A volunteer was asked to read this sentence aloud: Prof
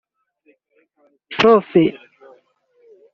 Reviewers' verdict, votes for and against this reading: rejected, 2, 3